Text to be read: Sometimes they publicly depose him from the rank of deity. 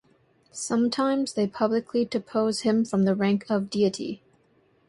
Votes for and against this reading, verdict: 2, 0, accepted